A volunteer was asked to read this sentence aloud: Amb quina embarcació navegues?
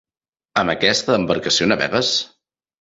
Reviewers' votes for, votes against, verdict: 0, 2, rejected